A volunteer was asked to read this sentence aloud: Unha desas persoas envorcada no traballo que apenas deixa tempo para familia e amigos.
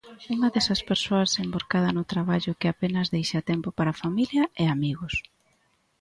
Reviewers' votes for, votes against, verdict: 2, 0, accepted